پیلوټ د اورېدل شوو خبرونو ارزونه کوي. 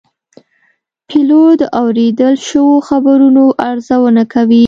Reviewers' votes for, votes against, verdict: 2, 0, accepted